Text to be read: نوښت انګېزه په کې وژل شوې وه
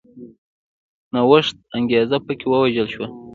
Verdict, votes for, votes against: rejected, 0, 2